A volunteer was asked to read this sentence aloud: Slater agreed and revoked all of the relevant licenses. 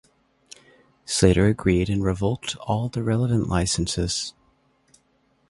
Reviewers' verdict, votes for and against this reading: rejected, 0, 2